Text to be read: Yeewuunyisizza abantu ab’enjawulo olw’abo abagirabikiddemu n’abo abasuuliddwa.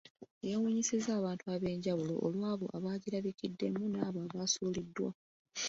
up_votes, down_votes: 2, 0